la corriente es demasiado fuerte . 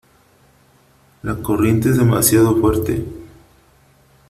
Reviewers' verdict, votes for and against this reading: accepted, 3, 0